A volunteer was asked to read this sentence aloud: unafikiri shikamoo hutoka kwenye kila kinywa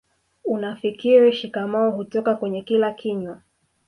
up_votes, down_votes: 2, 1